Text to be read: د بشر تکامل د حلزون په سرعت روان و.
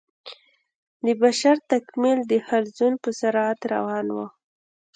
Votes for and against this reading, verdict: 2, 0, accepted